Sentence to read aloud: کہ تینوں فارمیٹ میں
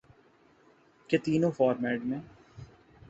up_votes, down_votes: 2, 0